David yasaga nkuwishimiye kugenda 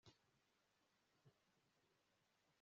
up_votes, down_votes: 1, 3